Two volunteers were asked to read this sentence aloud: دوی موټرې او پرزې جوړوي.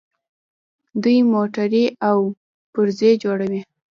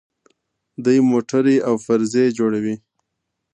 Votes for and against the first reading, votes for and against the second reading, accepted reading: 0, 2, 2, 0, second